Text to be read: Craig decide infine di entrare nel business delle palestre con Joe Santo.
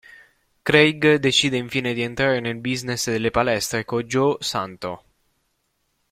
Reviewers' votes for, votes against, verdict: 2, 0, accepted